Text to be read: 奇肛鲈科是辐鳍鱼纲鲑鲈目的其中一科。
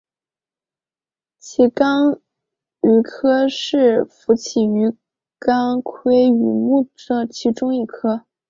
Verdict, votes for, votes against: accepted, 3, 2